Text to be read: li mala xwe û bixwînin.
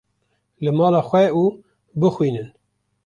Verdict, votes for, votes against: accepted, 2, 0